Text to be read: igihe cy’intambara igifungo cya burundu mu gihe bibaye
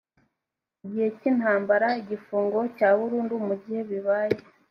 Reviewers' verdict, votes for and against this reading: accepted, 2, 0